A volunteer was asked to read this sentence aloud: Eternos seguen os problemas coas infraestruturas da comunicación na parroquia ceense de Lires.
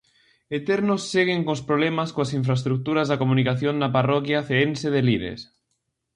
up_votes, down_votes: 2, 0